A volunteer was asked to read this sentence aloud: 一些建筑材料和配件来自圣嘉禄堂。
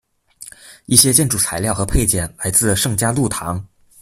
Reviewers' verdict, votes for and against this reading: accepted, 2, 0